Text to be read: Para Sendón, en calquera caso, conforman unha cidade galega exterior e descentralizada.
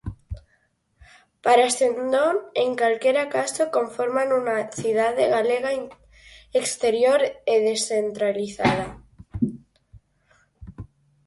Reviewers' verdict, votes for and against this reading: rejected, 0, 4